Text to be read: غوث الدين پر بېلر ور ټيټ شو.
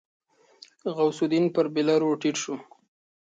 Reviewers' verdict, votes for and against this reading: accepted, 2, 0